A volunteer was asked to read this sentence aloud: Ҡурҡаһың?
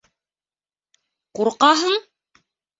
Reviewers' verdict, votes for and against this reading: accepted, 2, 0